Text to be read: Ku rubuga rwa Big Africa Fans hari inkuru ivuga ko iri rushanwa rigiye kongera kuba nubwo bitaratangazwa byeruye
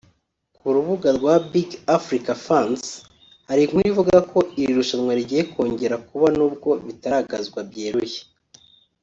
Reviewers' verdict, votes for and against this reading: rejected, 2, 3